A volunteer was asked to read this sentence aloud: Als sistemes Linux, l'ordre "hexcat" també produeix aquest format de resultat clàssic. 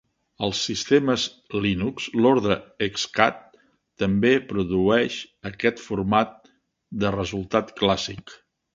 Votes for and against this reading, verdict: 2, 0, accepted